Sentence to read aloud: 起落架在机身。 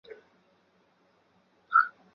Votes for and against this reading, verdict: 0, 2, rejected